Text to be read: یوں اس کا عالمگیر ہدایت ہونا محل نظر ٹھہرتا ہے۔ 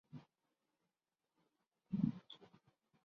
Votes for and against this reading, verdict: 1, 3, rejected